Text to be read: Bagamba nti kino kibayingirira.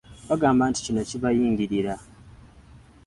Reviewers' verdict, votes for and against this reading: accepted, 2, 0